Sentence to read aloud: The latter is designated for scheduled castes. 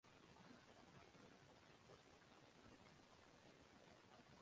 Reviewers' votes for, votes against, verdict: 0, 2, rejected